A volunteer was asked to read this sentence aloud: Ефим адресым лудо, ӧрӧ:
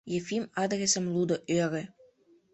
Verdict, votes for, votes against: rejected, 1, 2